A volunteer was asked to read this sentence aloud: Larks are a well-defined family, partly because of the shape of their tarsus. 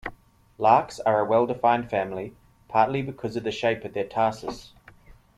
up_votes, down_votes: 2, 0